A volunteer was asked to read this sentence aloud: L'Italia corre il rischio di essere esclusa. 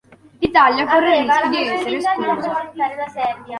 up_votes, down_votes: 0, 2